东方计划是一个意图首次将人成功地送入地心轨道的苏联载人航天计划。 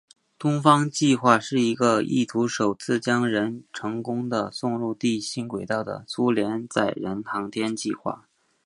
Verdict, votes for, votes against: accepted, 2, 1